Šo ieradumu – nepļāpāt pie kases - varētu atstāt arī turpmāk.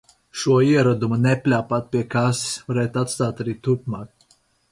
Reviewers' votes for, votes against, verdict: 4, 0, accepted